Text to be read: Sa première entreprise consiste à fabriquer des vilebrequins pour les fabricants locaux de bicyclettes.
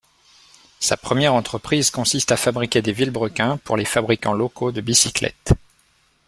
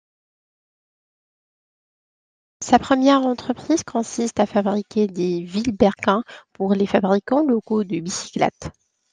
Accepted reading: first